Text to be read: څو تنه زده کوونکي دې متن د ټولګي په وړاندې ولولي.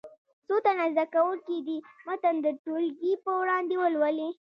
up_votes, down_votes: 2, 0